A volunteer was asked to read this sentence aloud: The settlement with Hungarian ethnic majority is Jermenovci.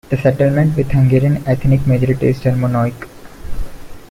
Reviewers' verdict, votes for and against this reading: rejected, 1, 2